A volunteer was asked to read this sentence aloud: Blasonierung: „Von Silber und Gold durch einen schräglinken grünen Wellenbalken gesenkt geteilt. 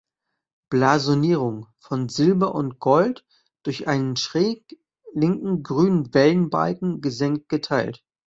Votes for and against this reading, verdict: 1, 2, rejected